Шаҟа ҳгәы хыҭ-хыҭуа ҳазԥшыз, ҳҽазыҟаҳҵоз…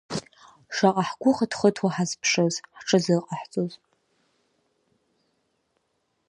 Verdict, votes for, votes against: accepted, 3, 0